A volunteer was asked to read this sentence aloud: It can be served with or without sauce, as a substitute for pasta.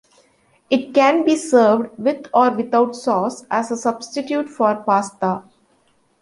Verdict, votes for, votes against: accepted, 2, 0